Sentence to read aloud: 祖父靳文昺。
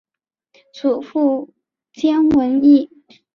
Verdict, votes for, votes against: rejected, 0, 2